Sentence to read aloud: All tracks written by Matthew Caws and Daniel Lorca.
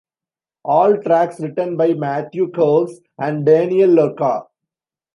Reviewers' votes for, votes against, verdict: 2, 1, accepted